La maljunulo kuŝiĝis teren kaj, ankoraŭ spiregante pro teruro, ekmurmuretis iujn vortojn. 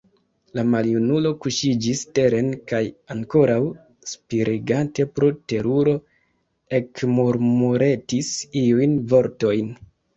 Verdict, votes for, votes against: rejected, 1, 2